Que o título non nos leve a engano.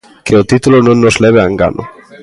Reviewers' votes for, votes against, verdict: 1, 2, rejected